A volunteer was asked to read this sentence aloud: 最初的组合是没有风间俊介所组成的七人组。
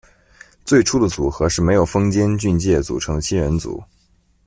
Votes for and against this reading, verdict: 0, 2, rejected